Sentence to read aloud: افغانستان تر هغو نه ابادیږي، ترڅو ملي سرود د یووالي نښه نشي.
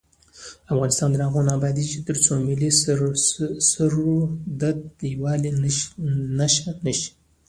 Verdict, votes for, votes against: rejected, 0, 2